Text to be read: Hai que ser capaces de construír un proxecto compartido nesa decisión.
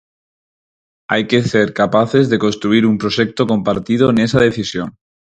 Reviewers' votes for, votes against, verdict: 4, 0, accepted